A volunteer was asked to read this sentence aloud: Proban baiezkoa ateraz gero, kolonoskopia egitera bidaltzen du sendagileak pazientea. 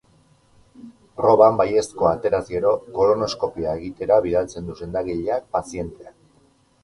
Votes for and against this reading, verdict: 2, 2, rejected